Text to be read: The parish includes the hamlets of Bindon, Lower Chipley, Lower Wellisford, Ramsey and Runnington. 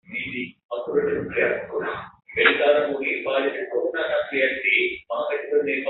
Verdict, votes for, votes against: rejected, 0, 2